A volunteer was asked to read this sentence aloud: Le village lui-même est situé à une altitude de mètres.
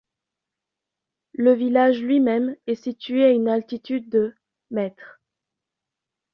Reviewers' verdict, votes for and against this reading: accepted, 2, 0